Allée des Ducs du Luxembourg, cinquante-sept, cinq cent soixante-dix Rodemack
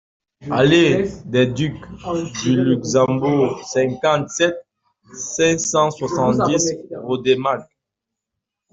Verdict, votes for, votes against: rejected, 0, 2